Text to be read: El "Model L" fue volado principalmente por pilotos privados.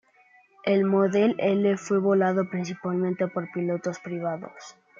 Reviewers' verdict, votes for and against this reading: accepted, 2, 1